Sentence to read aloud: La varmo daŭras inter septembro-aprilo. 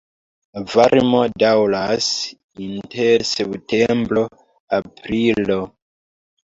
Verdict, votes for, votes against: rejected, 1, 2